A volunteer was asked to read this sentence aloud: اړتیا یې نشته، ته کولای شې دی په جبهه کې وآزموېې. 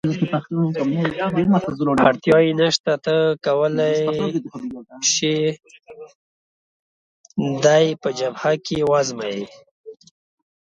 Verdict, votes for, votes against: rejected, 0, 2